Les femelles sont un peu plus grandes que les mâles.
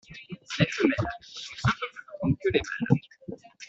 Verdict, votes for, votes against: rejected, 1, 2